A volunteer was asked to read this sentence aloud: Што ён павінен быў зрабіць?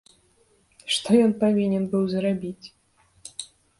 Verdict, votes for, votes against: accepted, 2, 0